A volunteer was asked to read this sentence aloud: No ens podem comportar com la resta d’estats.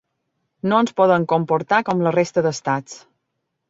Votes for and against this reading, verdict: 1, 2, rejected